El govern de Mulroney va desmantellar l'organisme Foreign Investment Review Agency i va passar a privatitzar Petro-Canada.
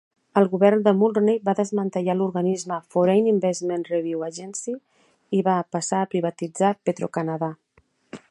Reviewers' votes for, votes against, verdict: 2, 0, accepted